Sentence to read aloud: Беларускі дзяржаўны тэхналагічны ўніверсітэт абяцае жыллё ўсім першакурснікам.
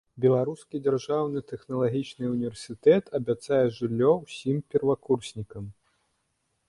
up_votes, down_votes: 1, 2